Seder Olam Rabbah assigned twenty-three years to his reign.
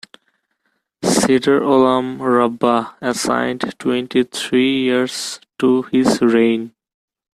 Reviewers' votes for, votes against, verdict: 2, 0, accepted